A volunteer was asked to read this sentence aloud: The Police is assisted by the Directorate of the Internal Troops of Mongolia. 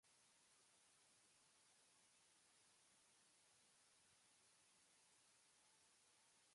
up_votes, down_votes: 0, 2